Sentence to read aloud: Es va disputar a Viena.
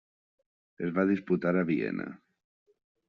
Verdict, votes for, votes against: accepted, 3, 0